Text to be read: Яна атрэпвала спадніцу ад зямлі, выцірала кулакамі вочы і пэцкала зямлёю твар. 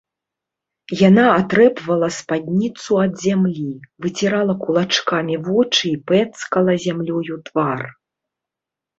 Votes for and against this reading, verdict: 0, 2, rejected